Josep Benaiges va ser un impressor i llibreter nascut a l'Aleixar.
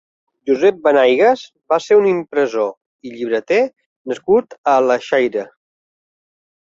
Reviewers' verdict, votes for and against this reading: rejected, 0, 2